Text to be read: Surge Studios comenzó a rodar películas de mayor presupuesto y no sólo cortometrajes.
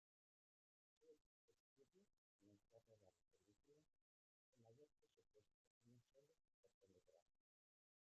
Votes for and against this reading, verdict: 0, 2, rejected